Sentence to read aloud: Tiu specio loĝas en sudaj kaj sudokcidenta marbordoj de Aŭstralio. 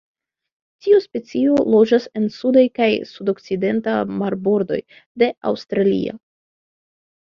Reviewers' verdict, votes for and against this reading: rejected, 1, 2